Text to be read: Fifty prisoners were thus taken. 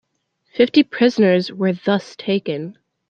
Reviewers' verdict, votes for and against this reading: accepted, 2, 0